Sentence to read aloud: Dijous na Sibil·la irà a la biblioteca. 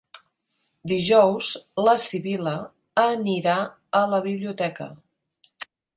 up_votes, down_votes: 2, 3